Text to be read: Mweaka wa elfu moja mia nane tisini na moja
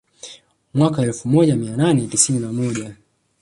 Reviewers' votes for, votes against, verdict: 0, 2, rejected